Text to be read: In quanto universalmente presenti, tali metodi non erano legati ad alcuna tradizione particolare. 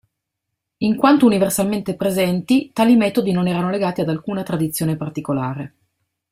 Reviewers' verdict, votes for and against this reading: accepted, 2, 0